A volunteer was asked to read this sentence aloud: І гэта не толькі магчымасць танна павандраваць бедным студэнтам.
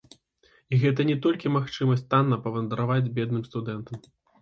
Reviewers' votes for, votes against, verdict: 2, 0, accepted